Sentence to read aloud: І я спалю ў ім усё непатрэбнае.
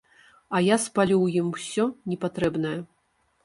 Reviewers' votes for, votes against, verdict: 1, 2, rejected